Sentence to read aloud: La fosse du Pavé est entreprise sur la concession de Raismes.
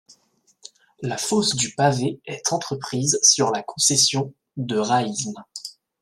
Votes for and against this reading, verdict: 2, 0, accepted